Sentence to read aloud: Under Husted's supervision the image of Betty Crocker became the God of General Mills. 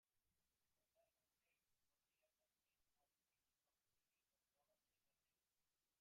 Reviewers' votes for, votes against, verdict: 0, 2, rejected